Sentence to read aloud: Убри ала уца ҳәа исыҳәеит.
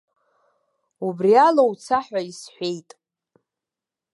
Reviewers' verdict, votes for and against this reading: rejected, 0, 2